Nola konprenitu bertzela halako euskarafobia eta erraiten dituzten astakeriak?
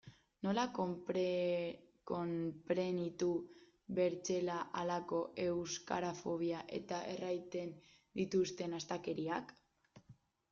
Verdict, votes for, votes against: rejected, 0, 2